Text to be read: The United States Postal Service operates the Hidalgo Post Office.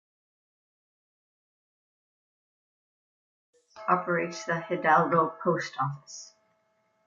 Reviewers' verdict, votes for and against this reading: rejected, 0, 2